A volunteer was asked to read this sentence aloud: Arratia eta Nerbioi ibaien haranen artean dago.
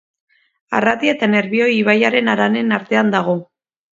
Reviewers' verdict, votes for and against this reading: accepted, 2, 1